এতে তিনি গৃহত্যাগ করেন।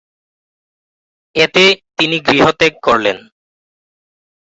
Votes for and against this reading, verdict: 5, 8, rejected